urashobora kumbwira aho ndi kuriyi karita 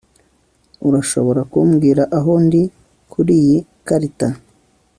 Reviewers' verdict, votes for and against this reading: accepted, 2, 0